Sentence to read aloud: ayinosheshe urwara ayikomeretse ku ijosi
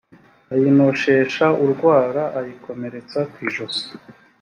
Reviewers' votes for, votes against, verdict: 2, 1, accepted